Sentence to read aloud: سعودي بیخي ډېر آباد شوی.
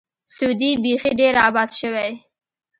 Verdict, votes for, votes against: accepted, 2, 1